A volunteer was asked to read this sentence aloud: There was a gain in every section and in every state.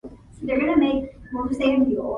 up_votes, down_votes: 0, 2